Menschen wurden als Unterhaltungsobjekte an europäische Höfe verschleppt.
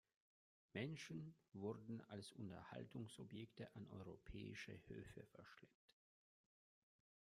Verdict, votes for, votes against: rejected, 1, 2